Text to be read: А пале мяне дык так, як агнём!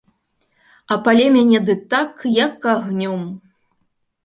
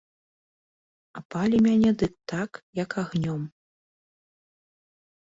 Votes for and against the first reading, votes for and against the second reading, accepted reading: 2, 0, 1, 2, first